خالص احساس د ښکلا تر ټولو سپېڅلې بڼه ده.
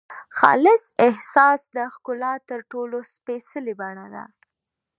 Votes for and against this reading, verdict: 1, 2, rejected